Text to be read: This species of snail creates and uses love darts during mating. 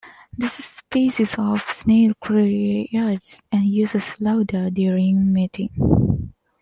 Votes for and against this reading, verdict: 0, 2, rejected